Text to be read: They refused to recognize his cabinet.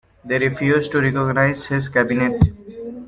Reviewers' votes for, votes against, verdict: 2, 0, accepted